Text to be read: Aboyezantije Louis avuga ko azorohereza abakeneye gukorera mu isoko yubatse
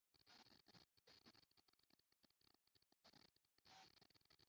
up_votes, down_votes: 0, 2